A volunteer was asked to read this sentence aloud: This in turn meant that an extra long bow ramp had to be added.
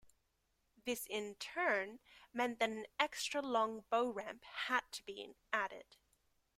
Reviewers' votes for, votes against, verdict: 2, 0, accepted